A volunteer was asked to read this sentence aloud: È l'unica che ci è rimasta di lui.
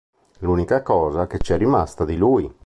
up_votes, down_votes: 1, 2